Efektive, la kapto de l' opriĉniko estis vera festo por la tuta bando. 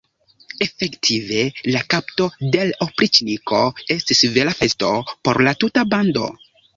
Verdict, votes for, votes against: accepted, 2, 0